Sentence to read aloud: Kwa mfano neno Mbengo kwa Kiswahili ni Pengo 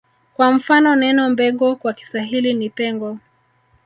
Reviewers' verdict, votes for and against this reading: rejected, 0, 2